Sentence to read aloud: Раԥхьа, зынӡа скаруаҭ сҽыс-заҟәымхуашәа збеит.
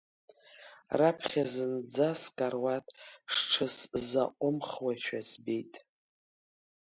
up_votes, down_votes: 1, 2